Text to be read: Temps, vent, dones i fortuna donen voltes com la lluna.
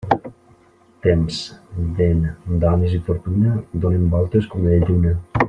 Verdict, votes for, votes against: rejected, 1, 2